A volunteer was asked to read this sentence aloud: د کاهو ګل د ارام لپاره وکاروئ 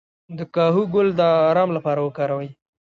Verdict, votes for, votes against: rejected, 1, 2